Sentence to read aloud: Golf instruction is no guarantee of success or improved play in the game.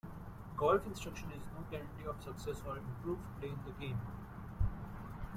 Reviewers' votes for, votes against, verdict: 0, 2, rejected